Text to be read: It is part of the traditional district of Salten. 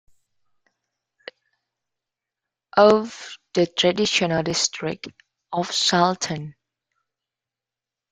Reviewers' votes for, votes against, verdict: 0, 2, rejected